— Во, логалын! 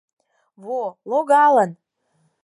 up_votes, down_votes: 4, 0